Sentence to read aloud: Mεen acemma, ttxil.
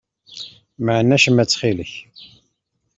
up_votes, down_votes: 1, 2